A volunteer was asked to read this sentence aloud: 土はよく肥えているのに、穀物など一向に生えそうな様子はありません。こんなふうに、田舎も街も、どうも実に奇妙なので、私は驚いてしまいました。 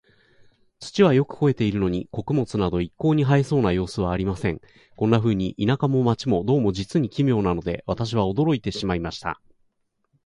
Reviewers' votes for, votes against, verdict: 2, 0, accepted